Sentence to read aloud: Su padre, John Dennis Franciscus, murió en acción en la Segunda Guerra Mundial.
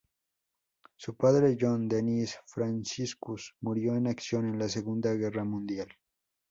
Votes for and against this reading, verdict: 2, 0, accepted